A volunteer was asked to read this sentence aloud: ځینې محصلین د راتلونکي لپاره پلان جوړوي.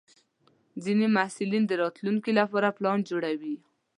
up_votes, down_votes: 2, 0